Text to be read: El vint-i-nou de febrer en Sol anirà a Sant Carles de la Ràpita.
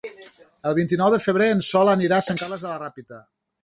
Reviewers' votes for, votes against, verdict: 3, 0, accepted